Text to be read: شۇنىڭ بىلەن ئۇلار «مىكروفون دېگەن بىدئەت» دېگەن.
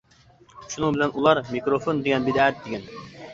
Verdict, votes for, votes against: rejected, 1, 2